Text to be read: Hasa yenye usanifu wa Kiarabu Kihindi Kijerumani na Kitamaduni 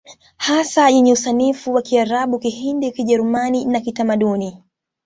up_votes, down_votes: 2, 1